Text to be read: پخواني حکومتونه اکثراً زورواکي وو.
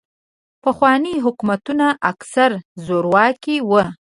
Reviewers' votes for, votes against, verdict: 0, 2, rejected